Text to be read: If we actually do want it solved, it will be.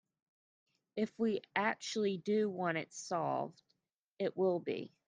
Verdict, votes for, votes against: accepted, 2, 0